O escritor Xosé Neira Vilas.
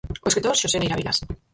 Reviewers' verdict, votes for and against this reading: rejected, 0, 4